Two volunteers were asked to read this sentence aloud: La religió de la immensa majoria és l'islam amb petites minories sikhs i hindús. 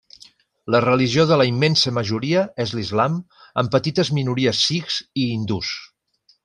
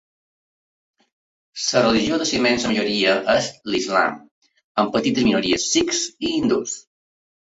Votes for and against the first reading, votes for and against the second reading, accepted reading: 3, 0, 1, 2, first